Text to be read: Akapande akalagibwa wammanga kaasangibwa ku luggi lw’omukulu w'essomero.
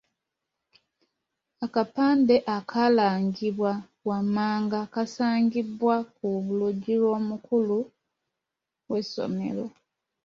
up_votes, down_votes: 2, 0